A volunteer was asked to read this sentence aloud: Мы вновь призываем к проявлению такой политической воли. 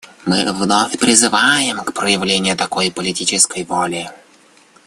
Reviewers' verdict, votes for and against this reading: accepted, 2, 0